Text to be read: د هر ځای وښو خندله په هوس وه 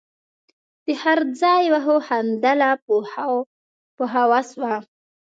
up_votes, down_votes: 1, 2